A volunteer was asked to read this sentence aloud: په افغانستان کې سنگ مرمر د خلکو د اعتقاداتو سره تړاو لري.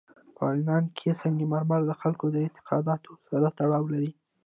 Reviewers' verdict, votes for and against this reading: accepted, 2, 0